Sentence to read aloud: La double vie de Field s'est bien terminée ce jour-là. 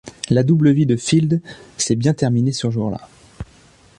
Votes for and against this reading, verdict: 1, 2, rejected